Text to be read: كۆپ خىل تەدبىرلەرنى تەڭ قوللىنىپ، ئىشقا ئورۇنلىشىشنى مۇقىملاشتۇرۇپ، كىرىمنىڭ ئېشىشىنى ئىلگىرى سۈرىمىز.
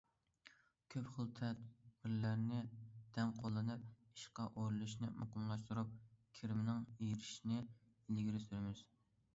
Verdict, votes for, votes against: accepted, 2, 0